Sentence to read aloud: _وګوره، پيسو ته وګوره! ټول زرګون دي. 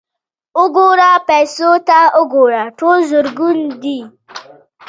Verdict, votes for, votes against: accepted, 2, 0